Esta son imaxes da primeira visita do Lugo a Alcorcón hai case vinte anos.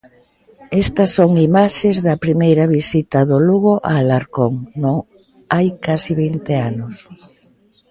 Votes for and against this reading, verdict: 0, 2, rejected